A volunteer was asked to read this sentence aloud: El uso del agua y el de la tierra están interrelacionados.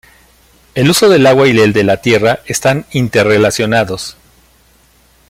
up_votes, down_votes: 1, 2